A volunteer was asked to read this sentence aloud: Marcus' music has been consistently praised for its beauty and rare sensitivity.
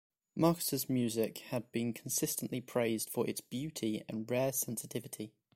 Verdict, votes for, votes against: rejected, 1, 2